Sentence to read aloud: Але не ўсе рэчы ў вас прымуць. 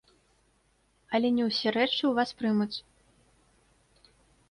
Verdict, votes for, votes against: rejected, 0, 2